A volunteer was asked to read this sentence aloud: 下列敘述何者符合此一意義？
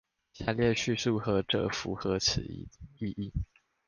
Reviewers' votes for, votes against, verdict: 1, 2, rejected